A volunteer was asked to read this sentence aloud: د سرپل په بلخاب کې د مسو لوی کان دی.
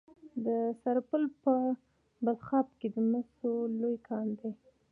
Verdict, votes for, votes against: accepted, 2, 0